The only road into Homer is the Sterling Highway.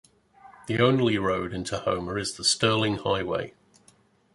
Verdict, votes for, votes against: accepted, 2, 0